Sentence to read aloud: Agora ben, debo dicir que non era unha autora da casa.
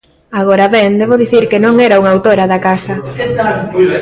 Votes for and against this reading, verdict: 1, 2, rejected